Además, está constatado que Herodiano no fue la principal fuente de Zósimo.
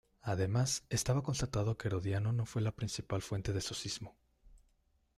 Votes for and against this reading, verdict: 0, 2, rejected